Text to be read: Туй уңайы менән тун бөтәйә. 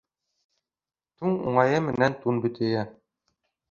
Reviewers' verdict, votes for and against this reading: rejected, 1, 2